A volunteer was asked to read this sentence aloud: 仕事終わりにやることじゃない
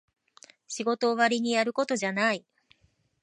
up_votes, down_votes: 2, 0